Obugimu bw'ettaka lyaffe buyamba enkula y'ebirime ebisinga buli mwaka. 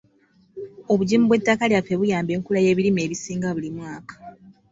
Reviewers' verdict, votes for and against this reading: accepted, 2, 0